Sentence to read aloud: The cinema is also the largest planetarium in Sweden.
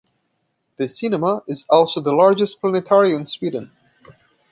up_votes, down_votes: 2, 1